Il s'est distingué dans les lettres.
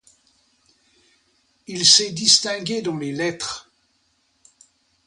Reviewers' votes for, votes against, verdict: 2, 0, accepted